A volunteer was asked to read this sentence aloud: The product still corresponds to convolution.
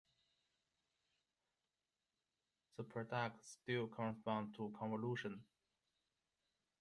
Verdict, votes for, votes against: accepted, 2, 0